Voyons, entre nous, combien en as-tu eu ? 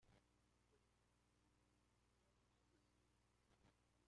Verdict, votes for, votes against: rejected, 0, 2